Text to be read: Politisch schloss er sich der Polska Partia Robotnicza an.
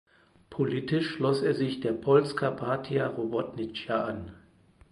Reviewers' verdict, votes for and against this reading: accepted, 4, 0